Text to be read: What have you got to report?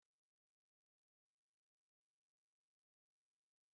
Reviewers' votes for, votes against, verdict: 0, 3, rejected